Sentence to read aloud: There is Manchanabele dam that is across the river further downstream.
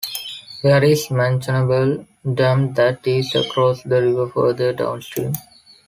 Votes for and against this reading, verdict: 1, 2, rejected